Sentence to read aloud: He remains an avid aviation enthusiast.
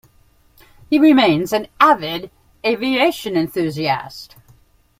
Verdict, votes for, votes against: accepted, 2, 0